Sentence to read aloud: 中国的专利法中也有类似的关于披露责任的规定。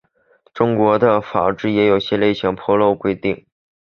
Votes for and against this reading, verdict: 2, 0, accepted